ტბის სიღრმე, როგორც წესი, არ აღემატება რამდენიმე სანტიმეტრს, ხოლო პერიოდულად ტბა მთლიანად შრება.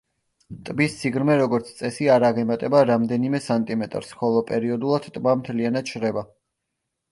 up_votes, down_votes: 2, 0